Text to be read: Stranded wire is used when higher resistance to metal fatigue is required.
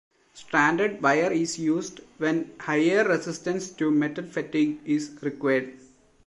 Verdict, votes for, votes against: rejected, 0, 2